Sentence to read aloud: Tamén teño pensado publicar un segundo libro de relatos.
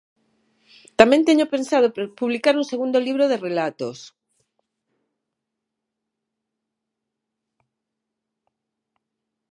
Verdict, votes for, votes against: rejected, 0, 6